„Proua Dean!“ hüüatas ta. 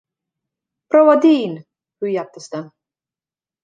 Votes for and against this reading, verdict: 2, 0, accepted